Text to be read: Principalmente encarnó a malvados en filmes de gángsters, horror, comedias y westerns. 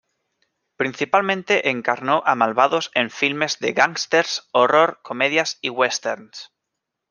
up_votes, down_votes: 2, 0